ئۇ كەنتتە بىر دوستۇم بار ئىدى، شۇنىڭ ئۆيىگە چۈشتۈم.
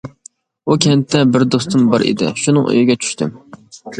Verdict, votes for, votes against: accepted, 2, 0